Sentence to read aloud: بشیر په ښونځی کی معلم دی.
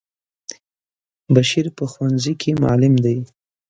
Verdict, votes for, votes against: accepted, 3, 0